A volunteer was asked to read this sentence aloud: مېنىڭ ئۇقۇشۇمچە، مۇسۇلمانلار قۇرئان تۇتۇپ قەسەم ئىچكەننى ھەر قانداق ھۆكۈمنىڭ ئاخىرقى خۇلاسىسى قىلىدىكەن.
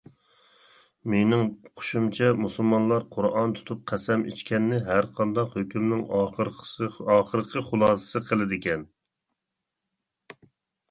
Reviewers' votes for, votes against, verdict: 0, 2, rejected